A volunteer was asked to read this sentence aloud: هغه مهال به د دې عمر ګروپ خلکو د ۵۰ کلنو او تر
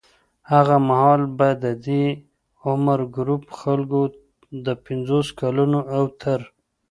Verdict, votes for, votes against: rejected, 0, 2